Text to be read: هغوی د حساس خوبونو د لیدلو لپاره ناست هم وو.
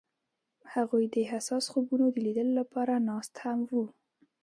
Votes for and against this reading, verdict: 1, 2, rejected